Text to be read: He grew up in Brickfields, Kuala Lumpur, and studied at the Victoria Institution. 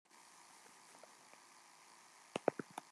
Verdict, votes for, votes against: rejected, 0, 2